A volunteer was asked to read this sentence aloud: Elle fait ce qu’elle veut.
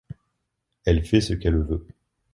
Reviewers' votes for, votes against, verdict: 2, 0, accepted